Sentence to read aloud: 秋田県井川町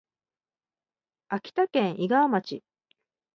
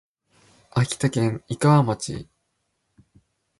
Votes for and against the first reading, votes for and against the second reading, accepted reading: 0, 2, 3, 0, second